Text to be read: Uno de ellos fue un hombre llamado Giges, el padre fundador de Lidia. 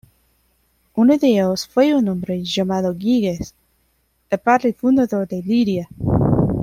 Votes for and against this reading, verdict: 2, 0, accepted